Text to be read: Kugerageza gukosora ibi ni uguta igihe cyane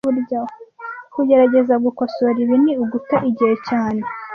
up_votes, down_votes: 1, 2